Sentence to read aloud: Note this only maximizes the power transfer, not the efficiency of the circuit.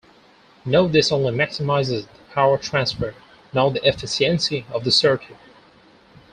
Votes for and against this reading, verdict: 4, 2, accepted